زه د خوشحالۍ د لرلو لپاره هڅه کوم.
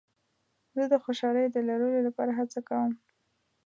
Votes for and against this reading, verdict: 2, 0, accepted